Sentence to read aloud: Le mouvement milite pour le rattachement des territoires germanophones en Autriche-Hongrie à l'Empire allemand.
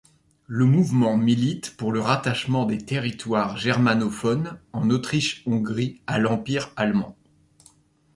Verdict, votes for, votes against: accepted, 2, 0